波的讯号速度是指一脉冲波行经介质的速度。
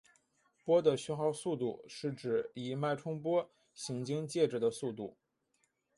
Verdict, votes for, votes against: accepted, 3, 2